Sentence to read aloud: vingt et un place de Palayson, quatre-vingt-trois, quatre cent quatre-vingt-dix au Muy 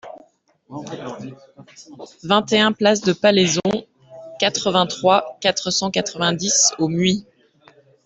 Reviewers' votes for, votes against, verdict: 2, 1, accepted